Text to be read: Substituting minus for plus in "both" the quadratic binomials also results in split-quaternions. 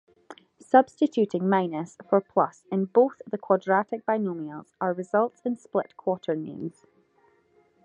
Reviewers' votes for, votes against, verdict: 2, 0, accepted